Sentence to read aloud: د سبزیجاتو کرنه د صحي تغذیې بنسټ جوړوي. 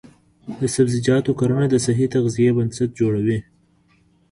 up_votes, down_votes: 1, 2